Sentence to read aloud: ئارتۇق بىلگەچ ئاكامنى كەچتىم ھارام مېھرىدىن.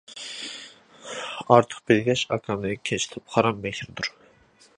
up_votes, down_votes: 0, 2